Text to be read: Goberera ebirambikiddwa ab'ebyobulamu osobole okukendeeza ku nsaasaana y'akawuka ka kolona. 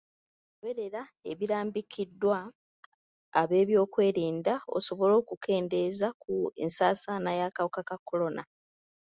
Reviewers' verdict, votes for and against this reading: rejected, 1, 2